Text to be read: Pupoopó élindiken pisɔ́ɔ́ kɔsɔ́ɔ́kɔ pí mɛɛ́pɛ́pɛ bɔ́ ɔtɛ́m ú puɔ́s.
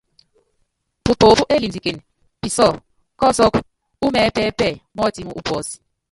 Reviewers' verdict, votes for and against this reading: rejected, 0, 2